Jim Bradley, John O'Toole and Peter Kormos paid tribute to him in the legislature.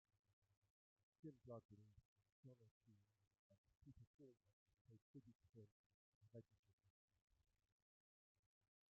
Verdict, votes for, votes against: rejected, 0, 2